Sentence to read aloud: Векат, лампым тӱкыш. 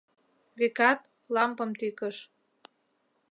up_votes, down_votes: 2, 0